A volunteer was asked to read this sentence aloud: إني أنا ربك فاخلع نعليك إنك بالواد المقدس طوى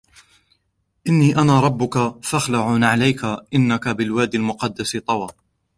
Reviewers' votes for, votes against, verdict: 0, 2, rejected